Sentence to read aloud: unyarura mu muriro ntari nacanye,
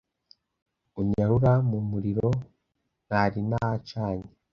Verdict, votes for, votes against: rejected, 1, 2